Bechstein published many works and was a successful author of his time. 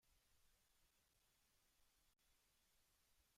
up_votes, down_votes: 0, 2